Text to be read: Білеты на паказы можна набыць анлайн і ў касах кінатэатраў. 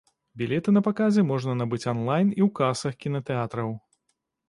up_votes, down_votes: 2, 0